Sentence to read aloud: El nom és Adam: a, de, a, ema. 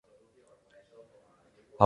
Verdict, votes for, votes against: rejected, 0, 2